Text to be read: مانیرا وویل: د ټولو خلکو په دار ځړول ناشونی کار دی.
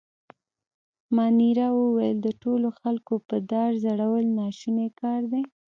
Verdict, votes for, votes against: accepted, 2, 0